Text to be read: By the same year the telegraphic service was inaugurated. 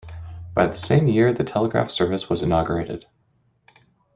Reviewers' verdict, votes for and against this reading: rejected, 1, 2